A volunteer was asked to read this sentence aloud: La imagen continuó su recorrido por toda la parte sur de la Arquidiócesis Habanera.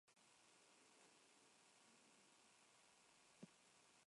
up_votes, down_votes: 0, 2